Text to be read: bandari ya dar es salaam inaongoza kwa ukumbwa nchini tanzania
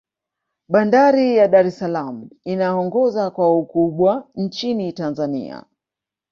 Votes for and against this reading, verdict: 1, 2, rejected